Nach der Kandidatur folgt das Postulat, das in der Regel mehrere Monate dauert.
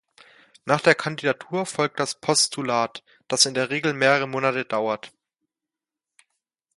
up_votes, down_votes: 2, 0